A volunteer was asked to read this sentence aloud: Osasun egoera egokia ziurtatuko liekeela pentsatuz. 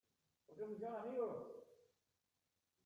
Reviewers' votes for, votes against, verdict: 0, 2, rejected